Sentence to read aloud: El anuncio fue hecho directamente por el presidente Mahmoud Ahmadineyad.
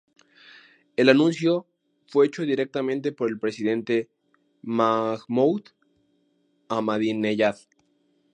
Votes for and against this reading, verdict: 4, 0, accepted